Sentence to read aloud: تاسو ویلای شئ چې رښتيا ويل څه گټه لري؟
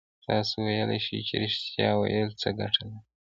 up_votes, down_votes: 0, 2